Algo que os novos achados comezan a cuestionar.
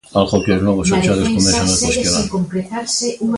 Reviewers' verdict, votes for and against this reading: rejected, 0, 2